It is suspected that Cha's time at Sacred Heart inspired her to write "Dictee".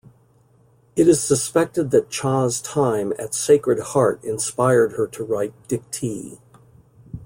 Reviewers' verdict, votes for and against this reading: accepted, 2, 0